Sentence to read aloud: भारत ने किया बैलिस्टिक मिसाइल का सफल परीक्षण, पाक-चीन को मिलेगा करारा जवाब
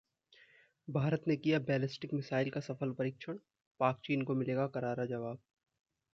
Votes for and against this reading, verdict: 2, 0, accepted